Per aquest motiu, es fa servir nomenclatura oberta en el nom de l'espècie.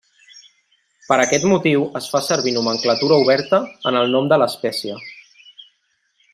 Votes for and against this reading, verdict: 3, 0, accepted